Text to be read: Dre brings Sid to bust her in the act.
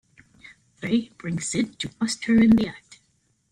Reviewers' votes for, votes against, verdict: 0, 2, rejected